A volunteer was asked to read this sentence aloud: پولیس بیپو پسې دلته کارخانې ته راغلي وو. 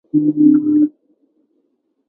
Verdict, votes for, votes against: rejected, 1, 2